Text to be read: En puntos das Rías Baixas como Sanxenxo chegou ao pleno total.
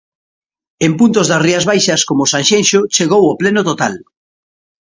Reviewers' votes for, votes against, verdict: 2, 0, accepted